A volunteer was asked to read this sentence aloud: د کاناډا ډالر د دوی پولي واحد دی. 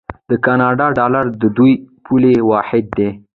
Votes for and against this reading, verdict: 1, 2, rejected